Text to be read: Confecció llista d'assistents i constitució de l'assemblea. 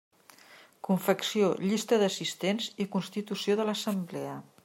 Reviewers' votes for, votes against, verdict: 3, 0, accepted